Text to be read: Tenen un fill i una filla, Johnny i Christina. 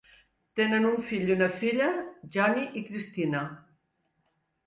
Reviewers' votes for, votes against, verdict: 2, 0, accepted